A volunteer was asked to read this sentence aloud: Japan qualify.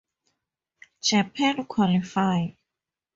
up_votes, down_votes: 4, 0